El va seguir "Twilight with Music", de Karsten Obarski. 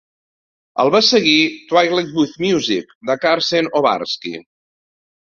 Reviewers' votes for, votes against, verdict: 2, 0, accepted